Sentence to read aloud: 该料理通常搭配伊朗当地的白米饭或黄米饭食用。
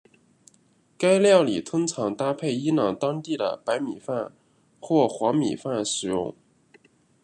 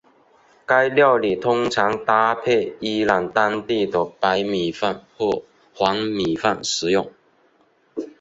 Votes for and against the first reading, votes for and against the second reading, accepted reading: 2, 0, 1, 2, first